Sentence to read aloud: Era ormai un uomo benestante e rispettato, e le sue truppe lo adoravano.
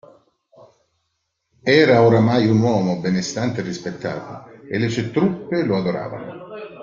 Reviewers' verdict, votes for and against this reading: rejected, 0, 2